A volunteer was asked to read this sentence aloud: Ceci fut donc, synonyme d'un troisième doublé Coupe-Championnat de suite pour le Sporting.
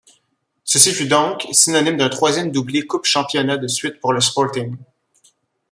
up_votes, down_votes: 0, 2